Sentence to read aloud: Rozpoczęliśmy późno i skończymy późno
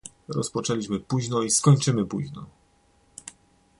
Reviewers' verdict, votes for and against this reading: accepted, 2, 0